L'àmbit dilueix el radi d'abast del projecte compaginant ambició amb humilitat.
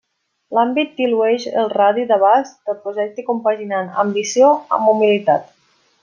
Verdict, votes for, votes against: accepted, 2, 0